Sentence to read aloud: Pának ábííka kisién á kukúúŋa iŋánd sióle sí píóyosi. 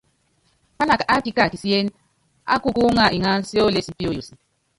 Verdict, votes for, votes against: rejected, 0, 2